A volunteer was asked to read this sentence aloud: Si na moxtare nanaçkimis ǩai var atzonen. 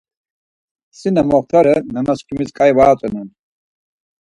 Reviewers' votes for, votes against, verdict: 4, 0, accepted